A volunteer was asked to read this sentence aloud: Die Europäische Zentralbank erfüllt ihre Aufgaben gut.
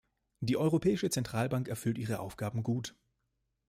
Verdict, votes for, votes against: accepted, 2, 0